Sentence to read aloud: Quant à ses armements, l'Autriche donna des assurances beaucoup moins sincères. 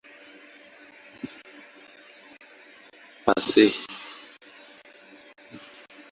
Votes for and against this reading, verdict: 0, 2, rejected